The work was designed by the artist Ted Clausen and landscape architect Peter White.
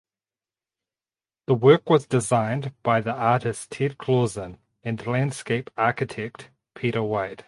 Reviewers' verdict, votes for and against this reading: accepted, 4, 0